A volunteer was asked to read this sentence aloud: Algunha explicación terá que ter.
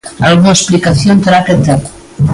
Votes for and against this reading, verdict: 2, 1, accepted